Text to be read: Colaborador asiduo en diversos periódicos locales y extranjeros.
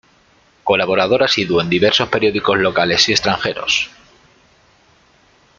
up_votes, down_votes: 2, 0